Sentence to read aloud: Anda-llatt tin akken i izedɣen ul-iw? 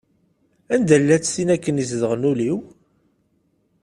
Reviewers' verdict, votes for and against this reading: accepted, 2, 0